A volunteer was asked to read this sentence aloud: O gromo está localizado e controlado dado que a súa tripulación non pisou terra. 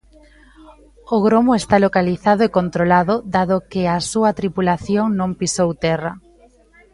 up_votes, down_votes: 2, 0